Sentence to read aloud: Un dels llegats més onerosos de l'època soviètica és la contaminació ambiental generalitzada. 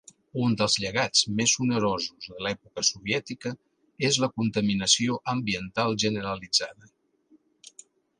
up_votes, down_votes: 2, 0